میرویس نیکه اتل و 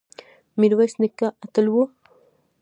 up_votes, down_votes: 1, 2